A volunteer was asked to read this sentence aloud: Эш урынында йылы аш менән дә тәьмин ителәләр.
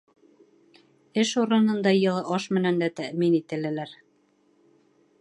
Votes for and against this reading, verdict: 1, 2, rejected